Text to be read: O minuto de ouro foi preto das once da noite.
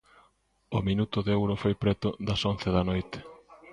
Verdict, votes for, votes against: accepted, 2, 0